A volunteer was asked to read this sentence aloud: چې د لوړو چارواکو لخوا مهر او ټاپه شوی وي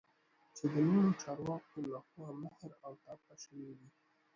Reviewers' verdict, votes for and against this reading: rejected, 0, 2